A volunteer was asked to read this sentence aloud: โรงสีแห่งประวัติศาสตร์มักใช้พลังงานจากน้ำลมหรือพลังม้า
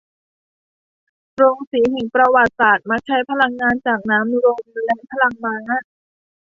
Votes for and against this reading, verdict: 0, 2, rejected